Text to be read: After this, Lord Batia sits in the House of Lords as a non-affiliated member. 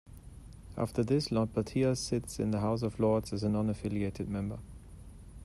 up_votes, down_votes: 2, 0